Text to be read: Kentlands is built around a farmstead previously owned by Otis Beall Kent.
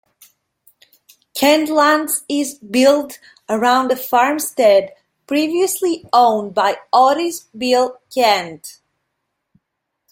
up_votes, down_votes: 2, 0